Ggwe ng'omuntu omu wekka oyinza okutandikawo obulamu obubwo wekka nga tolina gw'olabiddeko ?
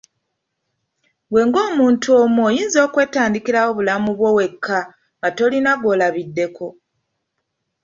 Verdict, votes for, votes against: rejected, 0, 2